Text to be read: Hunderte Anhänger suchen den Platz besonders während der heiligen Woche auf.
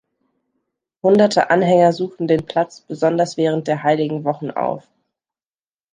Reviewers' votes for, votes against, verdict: 0, 2, rejected